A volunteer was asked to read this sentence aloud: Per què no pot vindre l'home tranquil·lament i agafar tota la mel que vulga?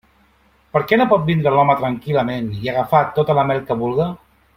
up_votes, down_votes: 3, 0